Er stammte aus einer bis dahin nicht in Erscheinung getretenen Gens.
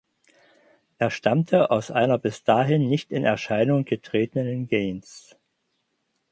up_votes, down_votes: 4, 0